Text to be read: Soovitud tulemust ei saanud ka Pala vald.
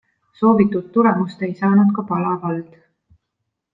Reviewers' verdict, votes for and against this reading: accepted, 2, 0